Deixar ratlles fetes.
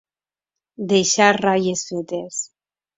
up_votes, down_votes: 2, 0